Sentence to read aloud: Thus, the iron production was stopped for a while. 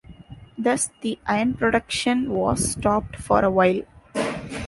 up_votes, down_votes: 1, 2